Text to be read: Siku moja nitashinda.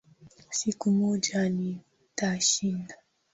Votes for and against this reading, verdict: 3, 0, accepted